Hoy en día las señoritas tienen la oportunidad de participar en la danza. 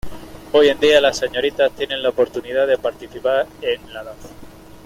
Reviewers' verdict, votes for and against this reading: accepted, 2, 0